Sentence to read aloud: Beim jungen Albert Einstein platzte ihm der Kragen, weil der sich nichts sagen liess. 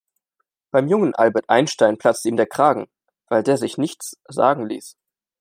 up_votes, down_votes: 2, 0